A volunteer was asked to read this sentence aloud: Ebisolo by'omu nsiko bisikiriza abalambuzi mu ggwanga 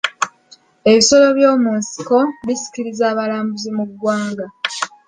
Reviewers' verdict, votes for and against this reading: accepted, 3, 0